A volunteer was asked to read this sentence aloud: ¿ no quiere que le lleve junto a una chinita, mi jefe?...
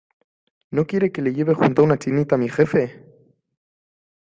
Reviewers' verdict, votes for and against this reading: accepted, 2, 1